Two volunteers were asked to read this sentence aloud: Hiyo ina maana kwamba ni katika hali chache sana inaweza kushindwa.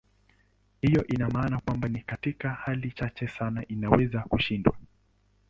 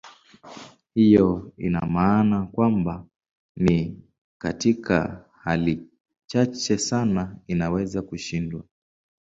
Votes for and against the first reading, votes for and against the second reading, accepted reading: 0, 2, 3, 0, second